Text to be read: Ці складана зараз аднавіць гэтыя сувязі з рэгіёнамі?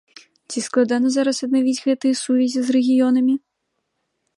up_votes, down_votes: 2, 0